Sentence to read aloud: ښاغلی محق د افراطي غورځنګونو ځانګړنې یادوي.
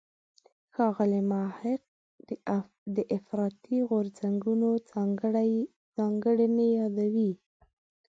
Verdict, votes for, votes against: rejected, 0, 2